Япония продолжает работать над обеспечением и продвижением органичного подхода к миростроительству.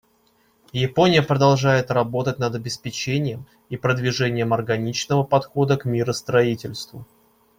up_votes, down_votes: 2, 0